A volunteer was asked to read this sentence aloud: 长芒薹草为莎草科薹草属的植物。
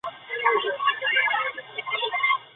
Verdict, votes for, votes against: rejected, 4, 5